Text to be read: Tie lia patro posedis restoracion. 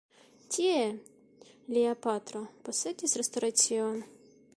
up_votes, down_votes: 2, 0